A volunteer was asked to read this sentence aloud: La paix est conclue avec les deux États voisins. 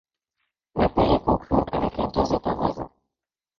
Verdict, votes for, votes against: rejected, 0, 2